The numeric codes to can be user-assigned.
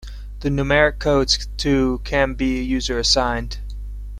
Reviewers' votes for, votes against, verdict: 2, 0, accepted